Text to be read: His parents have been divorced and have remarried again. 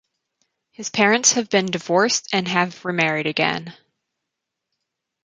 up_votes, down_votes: 4, 0